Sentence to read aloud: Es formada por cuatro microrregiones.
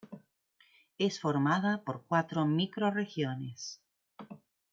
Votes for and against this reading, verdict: 2, 0, accepted